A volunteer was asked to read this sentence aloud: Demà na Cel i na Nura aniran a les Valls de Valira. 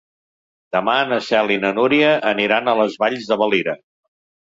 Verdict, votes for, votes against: rejected, 2, 3